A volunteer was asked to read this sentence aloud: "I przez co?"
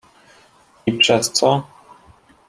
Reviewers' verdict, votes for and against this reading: accepted, 2, 0